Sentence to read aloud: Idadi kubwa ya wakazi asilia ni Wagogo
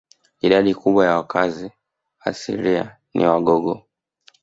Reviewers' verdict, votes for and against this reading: rejected, 1, 2